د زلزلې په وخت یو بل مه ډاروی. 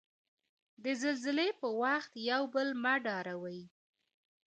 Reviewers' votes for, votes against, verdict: 2, 1, accepted